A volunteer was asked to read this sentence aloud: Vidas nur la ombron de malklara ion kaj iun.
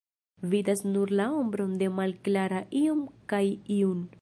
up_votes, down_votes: 1, 2